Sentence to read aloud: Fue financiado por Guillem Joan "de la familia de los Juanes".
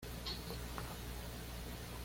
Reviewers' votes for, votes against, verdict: 1, 2, rejected